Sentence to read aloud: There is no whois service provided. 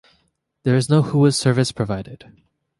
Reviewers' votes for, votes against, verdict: 3, 0, accepted